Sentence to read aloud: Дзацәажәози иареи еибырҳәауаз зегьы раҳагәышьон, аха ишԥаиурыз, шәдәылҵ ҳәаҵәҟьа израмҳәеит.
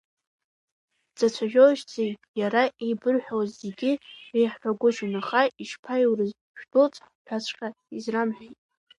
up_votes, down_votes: 0, 2